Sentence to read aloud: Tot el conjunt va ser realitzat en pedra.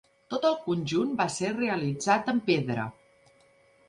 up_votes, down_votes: 3, 0